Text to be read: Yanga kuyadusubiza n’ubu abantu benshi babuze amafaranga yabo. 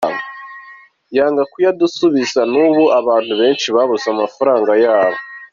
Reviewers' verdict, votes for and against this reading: accepted, 2, 0